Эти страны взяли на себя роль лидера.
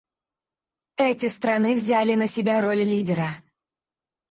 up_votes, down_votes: 2, 4